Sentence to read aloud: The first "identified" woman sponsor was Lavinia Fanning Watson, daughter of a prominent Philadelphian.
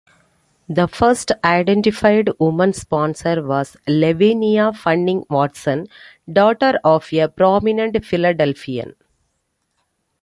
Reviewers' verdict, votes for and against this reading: accepted, 2, 0